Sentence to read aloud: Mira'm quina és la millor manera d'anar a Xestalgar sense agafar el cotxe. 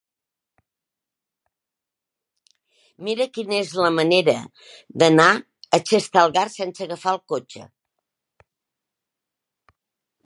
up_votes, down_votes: 0, 2